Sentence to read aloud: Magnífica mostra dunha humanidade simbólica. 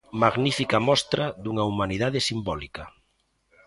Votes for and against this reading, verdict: 2, 0, accepted